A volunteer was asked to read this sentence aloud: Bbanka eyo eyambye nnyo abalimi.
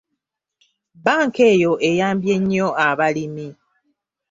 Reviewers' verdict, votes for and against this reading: accepted, 2, 0